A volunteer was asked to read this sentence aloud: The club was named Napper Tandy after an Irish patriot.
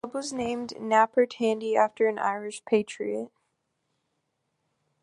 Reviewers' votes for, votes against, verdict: 3, 0, accepted